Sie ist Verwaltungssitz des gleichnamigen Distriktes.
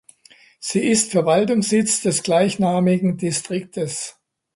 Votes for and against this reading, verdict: 2, 0, accepted